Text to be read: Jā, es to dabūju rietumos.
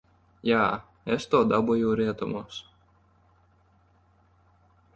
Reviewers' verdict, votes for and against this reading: accepted, 2, 0